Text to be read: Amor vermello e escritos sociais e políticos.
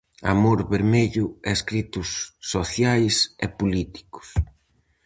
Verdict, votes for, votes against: accepted, 4, 0